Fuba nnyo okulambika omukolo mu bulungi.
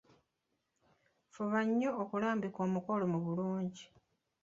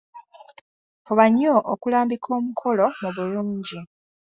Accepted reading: second